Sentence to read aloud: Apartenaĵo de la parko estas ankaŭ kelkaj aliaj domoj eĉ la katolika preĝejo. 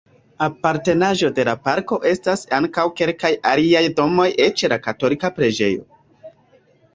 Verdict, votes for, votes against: rejected, 1, 2